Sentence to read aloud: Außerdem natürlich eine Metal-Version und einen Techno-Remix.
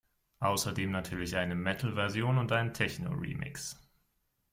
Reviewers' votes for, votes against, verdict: 2, 0, accepted